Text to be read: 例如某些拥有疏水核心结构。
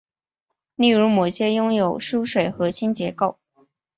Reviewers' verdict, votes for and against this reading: accepted, 2, 1